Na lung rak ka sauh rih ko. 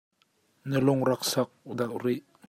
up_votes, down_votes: 0, 2